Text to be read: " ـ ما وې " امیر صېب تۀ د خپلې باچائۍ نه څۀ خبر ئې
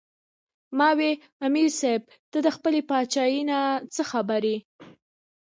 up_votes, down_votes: 0, 2